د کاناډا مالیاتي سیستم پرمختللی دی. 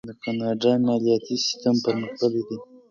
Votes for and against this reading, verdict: 2, 0, accepted